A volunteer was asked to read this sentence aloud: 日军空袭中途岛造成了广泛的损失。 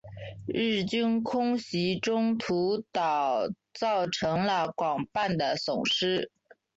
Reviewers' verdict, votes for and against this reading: accepted, 2, 0